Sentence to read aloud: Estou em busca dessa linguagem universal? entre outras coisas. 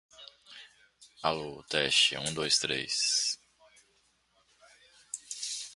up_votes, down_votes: 0, 2